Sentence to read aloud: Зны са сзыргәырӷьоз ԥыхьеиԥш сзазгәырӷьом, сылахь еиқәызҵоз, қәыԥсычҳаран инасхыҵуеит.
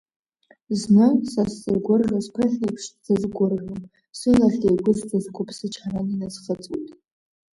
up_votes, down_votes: 0, 2